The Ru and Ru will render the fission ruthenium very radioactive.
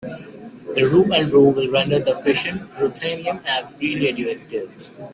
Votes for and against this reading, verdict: 0, 2, rejected